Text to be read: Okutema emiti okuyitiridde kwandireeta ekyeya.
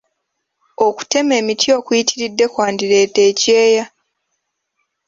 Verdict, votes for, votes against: accepted, 2, 0